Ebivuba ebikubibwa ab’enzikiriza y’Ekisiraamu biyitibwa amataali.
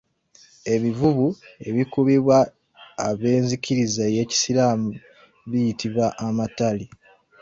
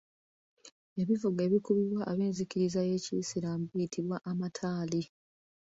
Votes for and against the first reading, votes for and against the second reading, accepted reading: 0, 3, 2, 1, second